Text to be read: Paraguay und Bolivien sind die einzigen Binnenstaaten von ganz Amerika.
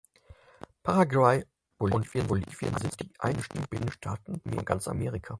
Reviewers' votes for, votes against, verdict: 0, 6, rejected